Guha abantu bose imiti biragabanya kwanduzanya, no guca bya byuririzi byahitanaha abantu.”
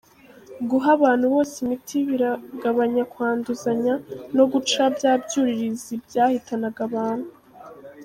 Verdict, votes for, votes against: rejected, 0, 2